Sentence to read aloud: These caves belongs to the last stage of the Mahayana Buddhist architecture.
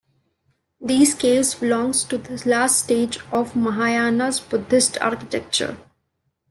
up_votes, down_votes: 2, 1